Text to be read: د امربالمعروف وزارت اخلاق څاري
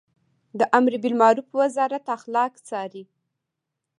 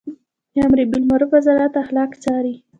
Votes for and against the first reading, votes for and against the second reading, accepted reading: 1, 2, 2, 0, second